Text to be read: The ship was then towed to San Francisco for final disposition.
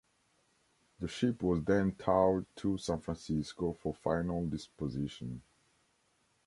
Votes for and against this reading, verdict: 1, 2, rejected